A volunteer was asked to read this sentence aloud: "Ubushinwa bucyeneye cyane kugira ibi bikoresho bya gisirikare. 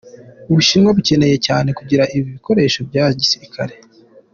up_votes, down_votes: 2, 0